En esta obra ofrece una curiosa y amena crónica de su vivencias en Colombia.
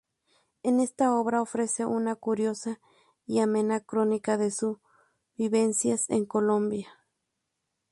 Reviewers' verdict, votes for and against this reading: rejected, 2, 2